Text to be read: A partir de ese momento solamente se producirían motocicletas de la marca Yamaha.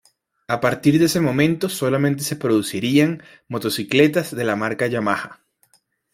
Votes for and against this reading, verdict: 2, 0, accepted